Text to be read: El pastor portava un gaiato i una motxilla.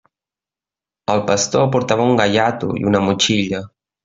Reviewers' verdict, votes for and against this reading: accepted, 3, 1